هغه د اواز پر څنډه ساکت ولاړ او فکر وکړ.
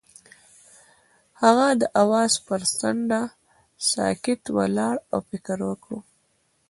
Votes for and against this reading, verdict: 2, 1, accepted